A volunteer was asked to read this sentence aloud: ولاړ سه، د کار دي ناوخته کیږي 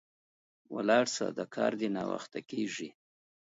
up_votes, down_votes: 2, 1